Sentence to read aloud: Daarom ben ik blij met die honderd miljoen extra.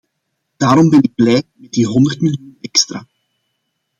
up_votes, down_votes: 0, 2